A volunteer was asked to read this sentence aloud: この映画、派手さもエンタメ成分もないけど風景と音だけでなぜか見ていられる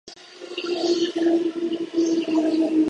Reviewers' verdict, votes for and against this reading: rejected, 0, 2